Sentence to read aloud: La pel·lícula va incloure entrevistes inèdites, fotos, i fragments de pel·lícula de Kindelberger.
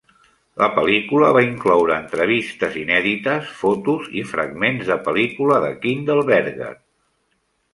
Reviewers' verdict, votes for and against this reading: accepted, 2, 0